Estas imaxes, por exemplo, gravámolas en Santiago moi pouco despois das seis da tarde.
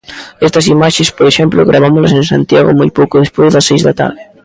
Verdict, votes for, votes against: accepted, 2, 0